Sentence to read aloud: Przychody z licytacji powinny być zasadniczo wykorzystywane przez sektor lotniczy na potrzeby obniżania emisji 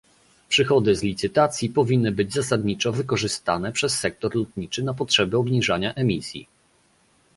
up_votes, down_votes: 1, 2